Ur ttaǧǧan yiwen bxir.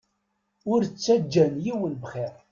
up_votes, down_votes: 2, 0